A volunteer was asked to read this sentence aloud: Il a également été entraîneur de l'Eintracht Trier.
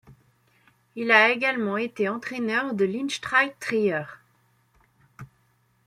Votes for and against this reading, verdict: 0, 2, rejected